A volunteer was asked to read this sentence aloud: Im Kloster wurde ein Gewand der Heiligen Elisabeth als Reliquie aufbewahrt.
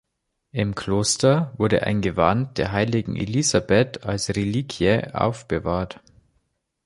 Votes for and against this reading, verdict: 2, 0, accepted